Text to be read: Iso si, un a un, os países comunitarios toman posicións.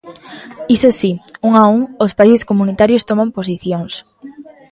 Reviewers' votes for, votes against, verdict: 3, 0, accepted